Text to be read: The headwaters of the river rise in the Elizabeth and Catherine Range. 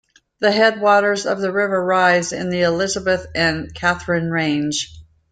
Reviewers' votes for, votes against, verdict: 2, 0, accepted